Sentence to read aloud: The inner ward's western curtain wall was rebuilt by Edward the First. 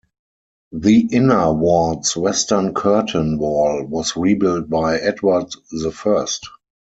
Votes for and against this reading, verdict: 4, 0, accepted